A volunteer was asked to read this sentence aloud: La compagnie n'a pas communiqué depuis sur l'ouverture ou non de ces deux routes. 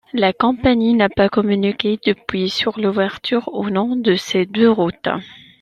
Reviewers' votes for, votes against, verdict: 2, 0, accepted